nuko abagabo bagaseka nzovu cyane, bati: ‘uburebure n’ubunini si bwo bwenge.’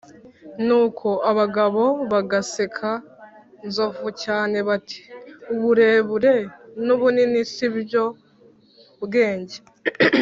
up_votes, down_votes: 0, 2